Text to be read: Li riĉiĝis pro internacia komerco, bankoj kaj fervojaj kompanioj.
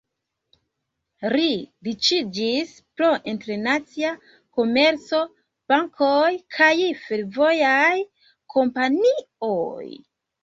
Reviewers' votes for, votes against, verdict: 0, 2, rejected